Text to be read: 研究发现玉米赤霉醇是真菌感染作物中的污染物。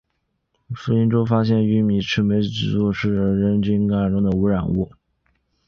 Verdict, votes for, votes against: rejected, 0, 2